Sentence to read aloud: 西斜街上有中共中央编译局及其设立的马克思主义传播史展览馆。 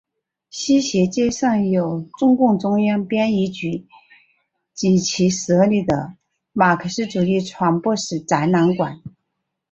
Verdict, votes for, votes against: accepted, 2, 1